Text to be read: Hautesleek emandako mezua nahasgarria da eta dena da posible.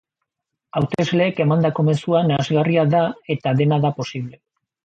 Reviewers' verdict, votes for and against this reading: accepted, 3, 1